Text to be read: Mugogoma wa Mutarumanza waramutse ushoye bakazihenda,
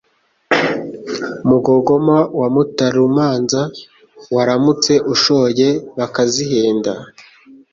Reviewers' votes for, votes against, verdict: 2, 0, accepted